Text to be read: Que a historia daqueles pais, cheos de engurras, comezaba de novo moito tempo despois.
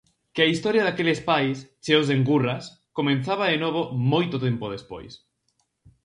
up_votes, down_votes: 0, 4